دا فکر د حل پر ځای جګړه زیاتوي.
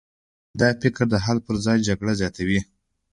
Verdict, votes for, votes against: accepted, 2, 0